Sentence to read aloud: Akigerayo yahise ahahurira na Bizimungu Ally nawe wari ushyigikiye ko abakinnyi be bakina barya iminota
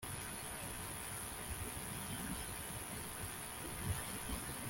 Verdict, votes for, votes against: rejected, 0, 2